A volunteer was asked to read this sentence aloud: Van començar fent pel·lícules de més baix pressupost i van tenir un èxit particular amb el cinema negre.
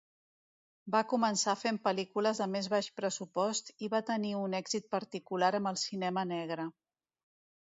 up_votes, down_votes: 0, 2